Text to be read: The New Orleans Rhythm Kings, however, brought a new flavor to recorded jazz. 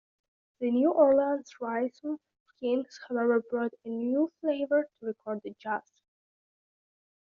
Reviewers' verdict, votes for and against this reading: accepted, 2, 0